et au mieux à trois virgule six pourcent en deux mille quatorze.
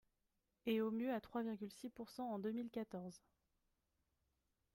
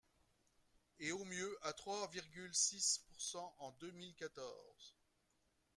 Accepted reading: first